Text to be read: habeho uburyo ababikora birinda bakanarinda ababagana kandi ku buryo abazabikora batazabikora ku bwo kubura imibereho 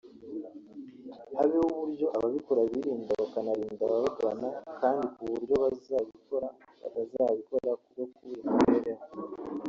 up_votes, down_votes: 1, 2